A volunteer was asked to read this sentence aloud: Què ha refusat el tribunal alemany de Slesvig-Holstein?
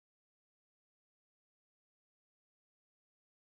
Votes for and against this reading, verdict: 0, 2, rejected